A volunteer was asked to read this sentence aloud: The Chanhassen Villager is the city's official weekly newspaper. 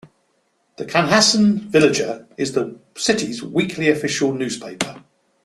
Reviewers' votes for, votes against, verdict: 1, 2, rejected